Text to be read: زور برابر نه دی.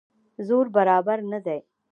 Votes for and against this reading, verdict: 0, 2, rejected